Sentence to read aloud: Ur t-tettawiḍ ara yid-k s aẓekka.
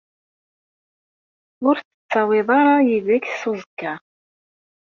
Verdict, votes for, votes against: rejected, 1, 2